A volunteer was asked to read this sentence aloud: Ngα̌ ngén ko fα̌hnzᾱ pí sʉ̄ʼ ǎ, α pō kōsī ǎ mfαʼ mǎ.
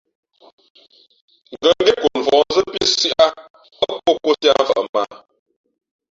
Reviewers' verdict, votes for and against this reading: rejected, 0, 2